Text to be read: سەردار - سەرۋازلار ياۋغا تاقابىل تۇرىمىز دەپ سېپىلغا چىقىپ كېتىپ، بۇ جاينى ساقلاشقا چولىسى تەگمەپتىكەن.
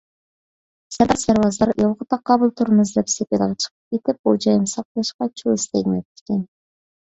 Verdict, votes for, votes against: rejected, 0, 2